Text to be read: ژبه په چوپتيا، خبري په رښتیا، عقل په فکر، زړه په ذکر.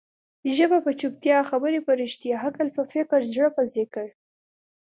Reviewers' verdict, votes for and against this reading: accepted, 2, 0